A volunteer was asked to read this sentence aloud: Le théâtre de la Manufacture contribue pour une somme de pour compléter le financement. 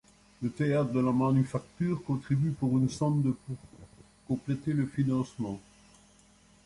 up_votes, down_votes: 1, 2